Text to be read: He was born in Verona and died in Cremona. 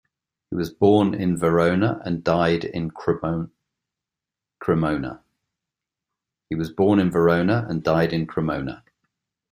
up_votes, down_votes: 1, 2